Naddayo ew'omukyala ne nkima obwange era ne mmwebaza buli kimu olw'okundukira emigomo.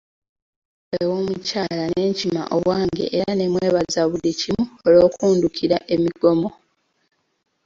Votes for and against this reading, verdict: 0, 2, rejected